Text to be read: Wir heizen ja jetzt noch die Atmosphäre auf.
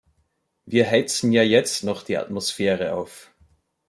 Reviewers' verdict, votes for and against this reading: rejected, 1, 2